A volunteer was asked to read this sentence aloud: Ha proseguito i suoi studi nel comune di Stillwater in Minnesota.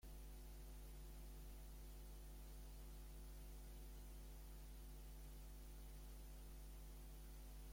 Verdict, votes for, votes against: rejected, 0, 2